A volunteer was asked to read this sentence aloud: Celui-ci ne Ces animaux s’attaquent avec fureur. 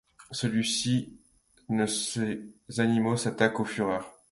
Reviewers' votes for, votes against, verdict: 1, 2, rejected